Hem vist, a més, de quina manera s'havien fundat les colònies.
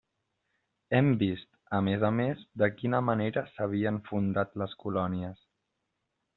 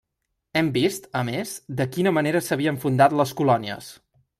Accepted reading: second